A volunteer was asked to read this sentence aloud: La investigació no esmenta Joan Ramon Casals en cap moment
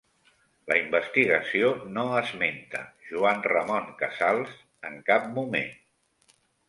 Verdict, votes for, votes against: accepted, 3, 0